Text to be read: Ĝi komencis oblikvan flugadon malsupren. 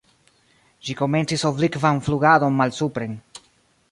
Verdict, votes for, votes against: accepted, 2, 0